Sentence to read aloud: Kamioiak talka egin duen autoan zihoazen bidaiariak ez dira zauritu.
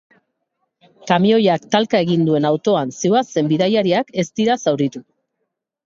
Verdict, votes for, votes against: accepted, 3, 0